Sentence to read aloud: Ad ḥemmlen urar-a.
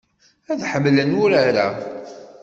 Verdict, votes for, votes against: accepted, 2, 0